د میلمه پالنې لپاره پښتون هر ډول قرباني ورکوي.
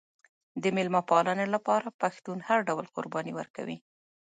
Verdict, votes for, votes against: accepted, 2, 1